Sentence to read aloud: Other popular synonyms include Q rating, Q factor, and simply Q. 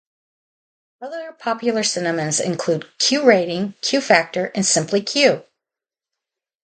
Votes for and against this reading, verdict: 2, 2, rejected